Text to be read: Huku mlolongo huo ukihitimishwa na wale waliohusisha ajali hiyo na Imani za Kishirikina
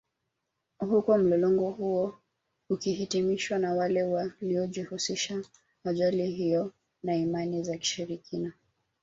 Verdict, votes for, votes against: rejected, 1, 2